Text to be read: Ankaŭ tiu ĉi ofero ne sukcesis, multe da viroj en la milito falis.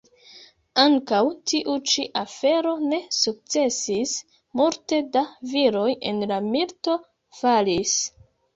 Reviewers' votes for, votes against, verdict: 0, 2, rejected